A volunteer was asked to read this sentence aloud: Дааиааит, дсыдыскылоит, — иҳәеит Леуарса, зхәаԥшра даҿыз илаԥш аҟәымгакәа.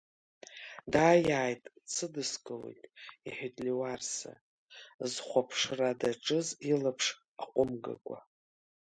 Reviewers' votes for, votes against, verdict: 1, 2, rejected